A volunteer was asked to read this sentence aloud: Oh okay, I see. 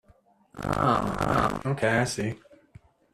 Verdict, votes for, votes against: rejected, 0, 2